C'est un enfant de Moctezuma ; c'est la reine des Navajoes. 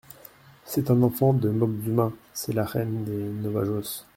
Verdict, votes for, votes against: rejected, 0, 2